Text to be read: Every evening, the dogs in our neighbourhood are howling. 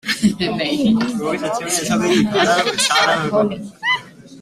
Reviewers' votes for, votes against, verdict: 1, 2, rejected